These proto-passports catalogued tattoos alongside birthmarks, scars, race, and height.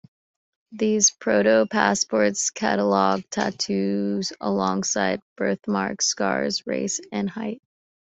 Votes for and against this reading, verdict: 2, 0, accepted